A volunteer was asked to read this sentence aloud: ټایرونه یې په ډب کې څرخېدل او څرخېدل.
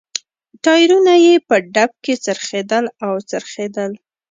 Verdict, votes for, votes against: accepted, 3, 0